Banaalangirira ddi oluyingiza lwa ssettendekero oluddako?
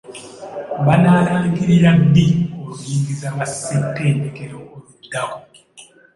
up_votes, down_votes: 3, 1